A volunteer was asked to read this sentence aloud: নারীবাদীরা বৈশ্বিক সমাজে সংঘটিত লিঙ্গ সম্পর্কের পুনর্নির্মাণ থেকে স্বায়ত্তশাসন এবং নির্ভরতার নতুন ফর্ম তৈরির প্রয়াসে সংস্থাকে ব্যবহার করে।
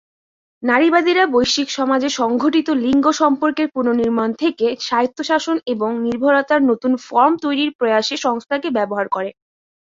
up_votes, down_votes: 14, 2